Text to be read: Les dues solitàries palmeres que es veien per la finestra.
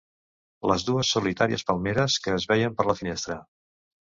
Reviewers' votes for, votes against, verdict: 2, 0, accepted